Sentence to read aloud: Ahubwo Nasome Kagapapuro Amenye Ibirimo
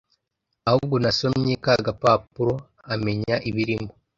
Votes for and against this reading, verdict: 0, 2, rejected